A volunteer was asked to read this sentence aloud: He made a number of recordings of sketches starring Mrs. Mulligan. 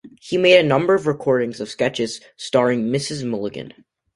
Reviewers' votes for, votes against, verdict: 2, 0, accepted